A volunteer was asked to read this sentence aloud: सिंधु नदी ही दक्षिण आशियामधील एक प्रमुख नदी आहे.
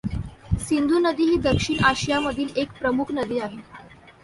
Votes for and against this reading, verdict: 2, 0, accepted